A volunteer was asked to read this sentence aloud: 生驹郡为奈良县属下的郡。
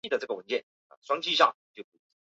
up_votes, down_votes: 1, 2